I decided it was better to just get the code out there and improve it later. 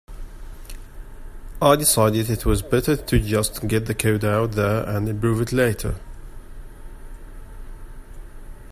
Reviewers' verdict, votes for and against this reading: accepted, 3, 0